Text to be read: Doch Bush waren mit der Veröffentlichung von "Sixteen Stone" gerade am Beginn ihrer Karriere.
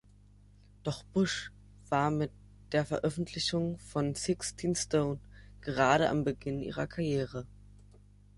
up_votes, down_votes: 0, 2